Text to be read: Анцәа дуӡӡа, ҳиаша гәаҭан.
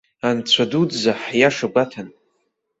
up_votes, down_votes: 2, 0